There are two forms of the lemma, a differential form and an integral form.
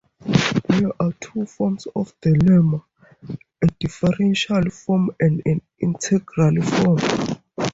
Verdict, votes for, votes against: rejected, 0, 2